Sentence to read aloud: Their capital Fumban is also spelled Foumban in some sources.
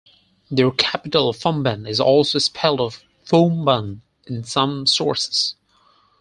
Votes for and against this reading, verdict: 4, 0, accepted